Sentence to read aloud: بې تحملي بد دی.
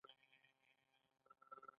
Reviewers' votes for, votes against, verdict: 2, 0, accepted